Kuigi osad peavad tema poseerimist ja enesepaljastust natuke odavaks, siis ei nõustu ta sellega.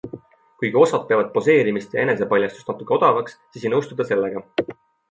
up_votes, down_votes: 2, 1